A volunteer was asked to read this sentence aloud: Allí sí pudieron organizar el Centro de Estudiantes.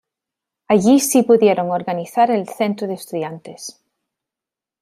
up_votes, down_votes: 2, 0